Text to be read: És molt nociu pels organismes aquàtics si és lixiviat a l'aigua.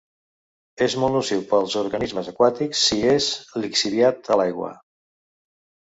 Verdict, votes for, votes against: accepted, 2, 0